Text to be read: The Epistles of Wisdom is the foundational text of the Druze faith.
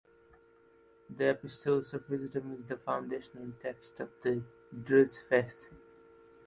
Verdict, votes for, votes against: accepted, 2, 0